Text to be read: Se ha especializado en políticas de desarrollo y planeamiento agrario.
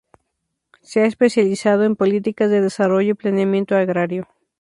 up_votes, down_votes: 2, 0